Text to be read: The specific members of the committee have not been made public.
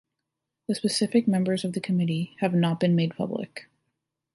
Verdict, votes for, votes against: accepted, 3, 0